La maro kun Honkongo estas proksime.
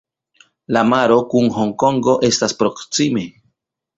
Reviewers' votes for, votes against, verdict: 2, 1, accepted